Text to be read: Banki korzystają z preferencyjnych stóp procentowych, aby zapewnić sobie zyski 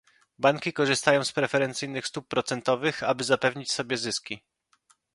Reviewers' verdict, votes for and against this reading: accepted, 2, 0